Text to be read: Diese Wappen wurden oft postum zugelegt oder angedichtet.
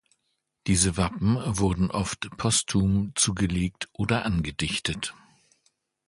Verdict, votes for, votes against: accepted, 2, 0